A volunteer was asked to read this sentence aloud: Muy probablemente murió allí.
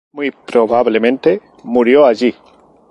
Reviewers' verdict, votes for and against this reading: rejected, 2, 2